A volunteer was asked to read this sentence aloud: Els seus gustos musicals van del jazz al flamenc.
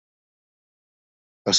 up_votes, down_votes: 0, 2